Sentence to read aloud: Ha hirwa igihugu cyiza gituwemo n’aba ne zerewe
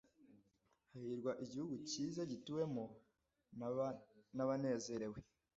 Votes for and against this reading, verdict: 1, 2, rejected